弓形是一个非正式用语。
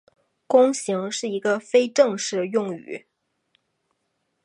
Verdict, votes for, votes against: accepted, 8, 0